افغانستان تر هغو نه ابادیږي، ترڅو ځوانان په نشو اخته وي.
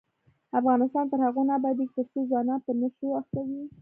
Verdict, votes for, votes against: accepted, 2, 1